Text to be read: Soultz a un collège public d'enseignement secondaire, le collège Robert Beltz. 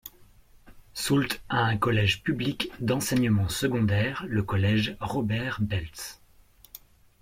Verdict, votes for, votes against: accepted, 2, 0